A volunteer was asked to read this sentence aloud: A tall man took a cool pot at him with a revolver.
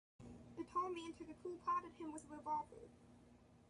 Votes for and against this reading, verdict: 1, 2, rejected